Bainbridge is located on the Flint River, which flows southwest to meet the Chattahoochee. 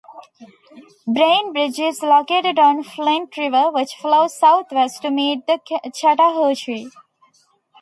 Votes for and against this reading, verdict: 0, 2, rejected